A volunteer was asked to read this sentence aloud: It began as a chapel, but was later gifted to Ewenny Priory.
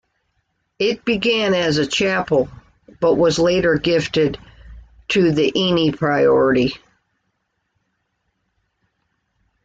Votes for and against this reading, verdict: 1, 2, rejected